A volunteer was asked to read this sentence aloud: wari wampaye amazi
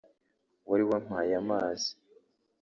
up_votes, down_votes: 2, 0